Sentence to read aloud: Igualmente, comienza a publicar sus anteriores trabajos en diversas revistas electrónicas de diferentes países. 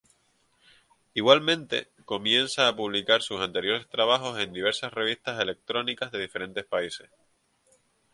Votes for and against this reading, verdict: 0, 2, rejected